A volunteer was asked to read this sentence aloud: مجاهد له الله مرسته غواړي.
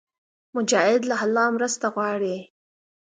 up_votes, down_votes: 2, 0